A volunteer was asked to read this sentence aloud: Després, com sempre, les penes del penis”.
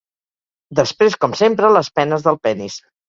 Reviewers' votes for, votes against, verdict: 4, 0, accepted